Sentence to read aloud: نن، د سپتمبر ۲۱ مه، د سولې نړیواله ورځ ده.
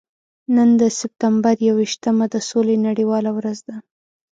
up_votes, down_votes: 0, 2